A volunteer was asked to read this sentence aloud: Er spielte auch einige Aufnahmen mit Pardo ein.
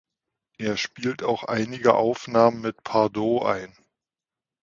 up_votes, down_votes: 0, 2